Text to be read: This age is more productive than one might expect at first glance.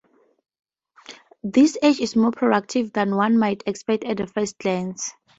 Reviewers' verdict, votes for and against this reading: rejected, 0, 4